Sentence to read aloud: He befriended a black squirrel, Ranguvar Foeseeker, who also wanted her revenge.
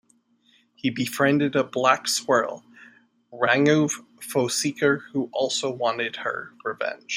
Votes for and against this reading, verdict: 2, 1, accepted